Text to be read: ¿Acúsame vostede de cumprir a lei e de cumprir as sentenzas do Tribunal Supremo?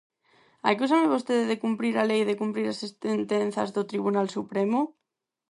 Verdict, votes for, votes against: rejected, 0, 4